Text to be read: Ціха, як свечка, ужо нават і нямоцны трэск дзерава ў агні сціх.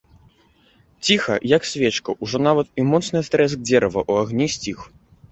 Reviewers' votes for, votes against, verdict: 0, 2, rejected